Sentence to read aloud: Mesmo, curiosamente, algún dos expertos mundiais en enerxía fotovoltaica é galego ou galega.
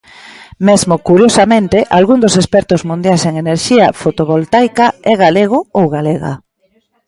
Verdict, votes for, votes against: rejected, 1, 2